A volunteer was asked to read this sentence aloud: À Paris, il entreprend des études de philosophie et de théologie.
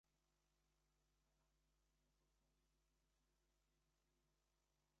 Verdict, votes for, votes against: rejected, 0, 2